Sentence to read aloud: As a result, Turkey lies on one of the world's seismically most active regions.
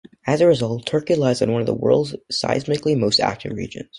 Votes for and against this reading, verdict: 1, 2, rejected